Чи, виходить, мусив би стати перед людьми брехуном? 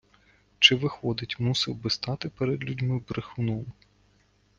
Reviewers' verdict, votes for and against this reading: accepted, 2, 0